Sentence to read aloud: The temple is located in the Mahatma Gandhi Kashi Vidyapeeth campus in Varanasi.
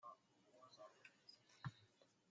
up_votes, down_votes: 0, 2